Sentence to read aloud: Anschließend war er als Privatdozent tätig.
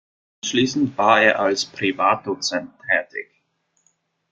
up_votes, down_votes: 0, 2